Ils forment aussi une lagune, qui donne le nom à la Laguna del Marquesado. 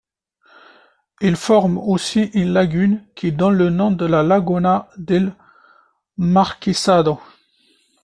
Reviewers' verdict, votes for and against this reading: rejected, 0, 2